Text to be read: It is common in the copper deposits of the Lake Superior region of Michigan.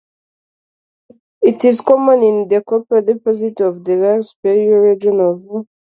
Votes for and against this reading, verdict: 0, 2, rejected